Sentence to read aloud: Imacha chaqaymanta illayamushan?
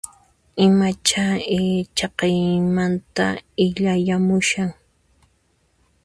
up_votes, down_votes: 1, 2